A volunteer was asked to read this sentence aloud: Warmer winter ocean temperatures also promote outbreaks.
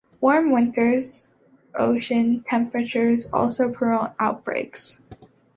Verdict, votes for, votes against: accepted, 2, 1